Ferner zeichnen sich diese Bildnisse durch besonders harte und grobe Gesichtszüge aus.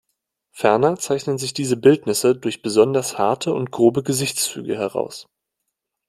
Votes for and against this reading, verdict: 0, 2, rejected